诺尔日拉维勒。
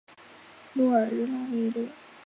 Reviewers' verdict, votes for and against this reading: accepted, 2, 1